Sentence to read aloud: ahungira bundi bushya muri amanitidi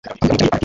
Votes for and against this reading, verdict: 1, 2, rejected